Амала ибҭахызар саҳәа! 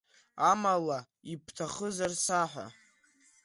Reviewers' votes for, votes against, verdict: 2, 0, accepted